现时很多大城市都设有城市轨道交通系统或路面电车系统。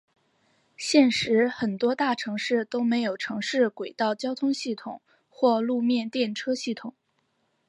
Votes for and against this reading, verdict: 3, 0, accepted